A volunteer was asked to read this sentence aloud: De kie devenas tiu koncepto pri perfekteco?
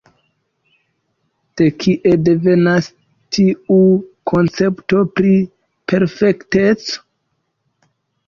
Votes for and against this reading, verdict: 2, 3, rejected